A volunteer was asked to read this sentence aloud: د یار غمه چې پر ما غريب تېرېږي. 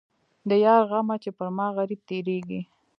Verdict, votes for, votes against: accepted, 2, 0